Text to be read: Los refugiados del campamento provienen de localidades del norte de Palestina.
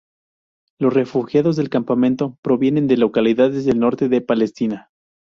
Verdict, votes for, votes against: accepted, 2, 0